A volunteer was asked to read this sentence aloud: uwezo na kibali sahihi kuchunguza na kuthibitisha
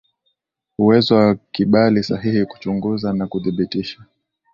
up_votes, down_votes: 3, 0